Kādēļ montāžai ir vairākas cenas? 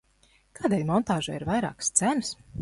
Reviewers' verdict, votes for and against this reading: accepted, 2, 0